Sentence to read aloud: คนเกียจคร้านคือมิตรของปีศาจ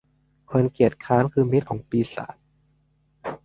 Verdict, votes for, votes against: accepted, 2, 0